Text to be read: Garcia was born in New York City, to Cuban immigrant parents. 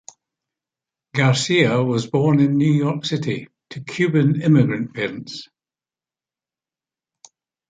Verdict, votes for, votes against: accepted, 2, 0